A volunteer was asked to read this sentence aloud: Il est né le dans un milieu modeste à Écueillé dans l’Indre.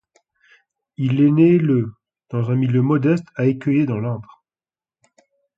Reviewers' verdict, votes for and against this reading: accepted, 2, 1